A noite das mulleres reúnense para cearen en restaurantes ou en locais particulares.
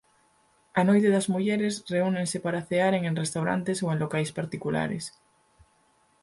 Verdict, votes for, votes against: accepted, 4, 0